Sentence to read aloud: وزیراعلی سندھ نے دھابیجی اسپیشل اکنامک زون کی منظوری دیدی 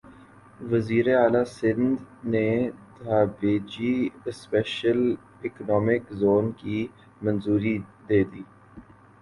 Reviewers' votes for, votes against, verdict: 2, 0, accepted